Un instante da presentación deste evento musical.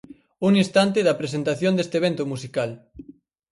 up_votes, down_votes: 4, 0